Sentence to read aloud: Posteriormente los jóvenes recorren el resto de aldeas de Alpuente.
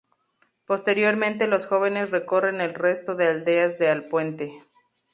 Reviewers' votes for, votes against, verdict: 2, 0, accepted